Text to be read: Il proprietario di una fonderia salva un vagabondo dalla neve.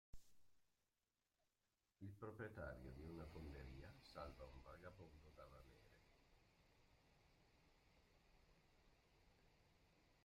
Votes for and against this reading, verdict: 0, 2, rejected